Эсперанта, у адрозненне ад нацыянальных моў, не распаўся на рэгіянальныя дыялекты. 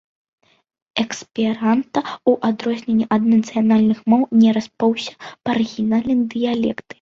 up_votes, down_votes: 0, 2